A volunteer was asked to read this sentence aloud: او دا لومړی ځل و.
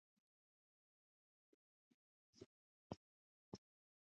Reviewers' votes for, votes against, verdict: 0, 2, rejected